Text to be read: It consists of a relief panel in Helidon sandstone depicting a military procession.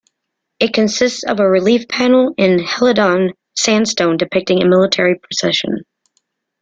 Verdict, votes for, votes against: accepted, 2, 0